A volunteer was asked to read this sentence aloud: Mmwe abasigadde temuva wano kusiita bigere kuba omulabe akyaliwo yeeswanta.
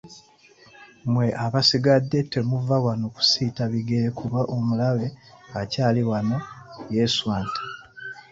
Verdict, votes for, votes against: accepted, 2, 1